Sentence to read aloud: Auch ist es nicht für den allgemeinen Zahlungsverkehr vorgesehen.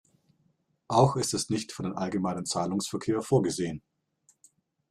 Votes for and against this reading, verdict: 2, 0, accepted